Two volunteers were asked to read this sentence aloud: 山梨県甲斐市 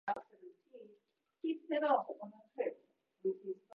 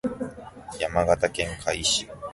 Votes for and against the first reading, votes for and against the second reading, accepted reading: 1, 4, 3, 0, second